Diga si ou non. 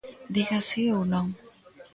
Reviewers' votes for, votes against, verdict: 1, 2, rejected